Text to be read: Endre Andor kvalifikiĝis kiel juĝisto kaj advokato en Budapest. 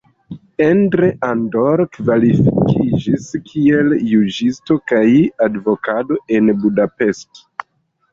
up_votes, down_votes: 1, 2